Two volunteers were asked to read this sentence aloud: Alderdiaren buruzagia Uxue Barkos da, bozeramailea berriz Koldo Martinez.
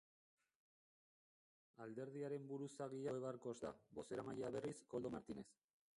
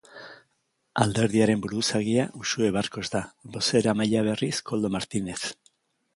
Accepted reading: second